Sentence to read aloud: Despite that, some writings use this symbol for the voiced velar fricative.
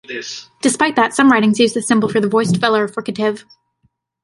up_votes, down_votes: 2, 1